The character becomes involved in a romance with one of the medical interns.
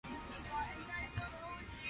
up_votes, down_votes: 0, 2